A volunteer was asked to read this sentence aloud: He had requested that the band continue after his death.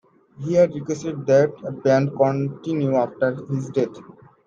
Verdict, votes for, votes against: rejected, 0, 2